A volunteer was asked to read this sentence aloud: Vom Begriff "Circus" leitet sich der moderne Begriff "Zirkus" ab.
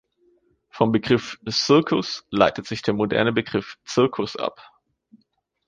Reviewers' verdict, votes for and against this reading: accepted, 2, 1